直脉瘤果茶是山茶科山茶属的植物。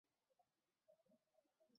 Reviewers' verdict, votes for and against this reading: rejected, 1, 3